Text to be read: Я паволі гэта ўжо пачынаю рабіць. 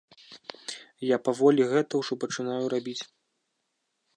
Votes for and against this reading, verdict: 2, 0, accepted